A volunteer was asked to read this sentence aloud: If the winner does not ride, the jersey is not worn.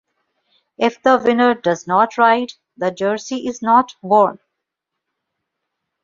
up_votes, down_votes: 2, 0